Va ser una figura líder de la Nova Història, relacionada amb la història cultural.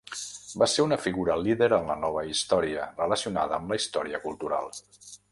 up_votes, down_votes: 0, 2